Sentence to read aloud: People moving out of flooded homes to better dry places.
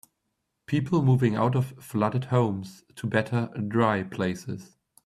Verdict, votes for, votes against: accepted, 2, 0